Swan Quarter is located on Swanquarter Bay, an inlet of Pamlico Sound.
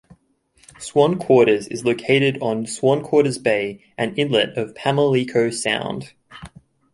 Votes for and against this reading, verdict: 1, 2, rejected